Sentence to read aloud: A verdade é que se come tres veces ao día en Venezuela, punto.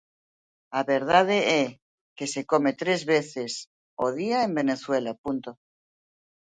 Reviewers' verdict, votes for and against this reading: accepted, 2, 0